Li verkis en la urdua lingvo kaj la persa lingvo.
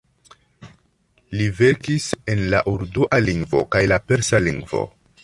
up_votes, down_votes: 2, 1